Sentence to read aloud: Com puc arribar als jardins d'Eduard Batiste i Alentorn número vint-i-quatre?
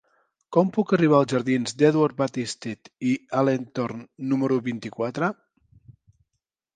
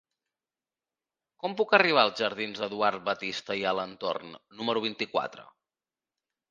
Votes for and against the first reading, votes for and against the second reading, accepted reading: 1, 2, 3, 0, second